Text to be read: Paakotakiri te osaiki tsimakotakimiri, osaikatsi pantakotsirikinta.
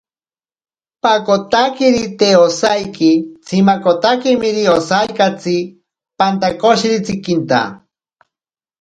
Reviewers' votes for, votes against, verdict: 0, 2, rejected